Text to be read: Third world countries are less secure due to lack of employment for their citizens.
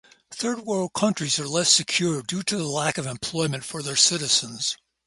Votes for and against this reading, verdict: 2, 0, accepted